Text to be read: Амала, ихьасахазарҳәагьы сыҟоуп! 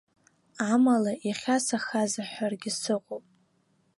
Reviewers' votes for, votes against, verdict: 1, 2, rejected